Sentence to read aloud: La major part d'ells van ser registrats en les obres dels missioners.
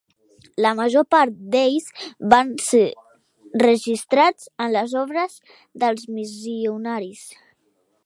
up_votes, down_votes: 0, 2